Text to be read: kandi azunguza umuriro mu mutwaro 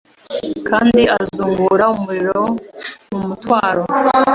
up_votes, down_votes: 0, 2